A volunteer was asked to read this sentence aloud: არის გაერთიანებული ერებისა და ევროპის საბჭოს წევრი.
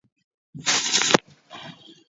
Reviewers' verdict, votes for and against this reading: rejected, 0, 2